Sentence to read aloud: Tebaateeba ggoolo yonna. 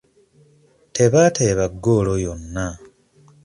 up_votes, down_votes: 2, 0